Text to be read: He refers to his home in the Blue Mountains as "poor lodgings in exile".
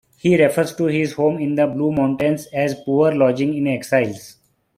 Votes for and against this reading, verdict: 2, 1, accepted